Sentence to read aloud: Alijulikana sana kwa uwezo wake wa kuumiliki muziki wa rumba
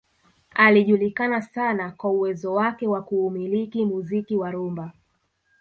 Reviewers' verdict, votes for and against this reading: rejected, 1, 2